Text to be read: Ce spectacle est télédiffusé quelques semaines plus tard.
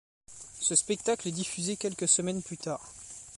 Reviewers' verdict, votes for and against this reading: rejected, 1, 2